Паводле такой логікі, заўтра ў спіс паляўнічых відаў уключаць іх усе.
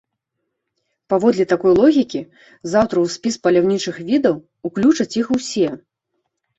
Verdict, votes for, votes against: accepted, 2, 1